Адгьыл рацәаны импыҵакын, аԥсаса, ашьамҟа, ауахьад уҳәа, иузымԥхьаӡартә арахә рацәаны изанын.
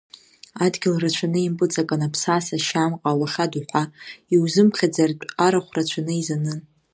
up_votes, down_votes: 1, 2